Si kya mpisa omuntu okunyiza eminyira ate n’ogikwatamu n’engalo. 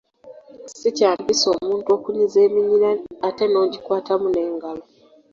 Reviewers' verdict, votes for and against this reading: accepted, 2, 0